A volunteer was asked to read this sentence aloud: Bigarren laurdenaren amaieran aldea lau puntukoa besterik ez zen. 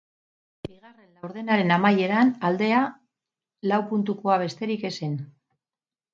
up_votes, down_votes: 4, 4